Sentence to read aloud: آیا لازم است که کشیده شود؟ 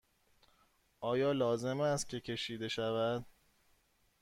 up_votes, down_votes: 2, 0